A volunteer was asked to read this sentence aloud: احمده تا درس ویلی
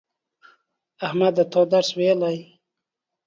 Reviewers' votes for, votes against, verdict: 2, 0, accepted